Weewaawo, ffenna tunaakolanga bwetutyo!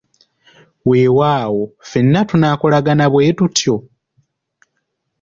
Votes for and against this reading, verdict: 1, 2, rejected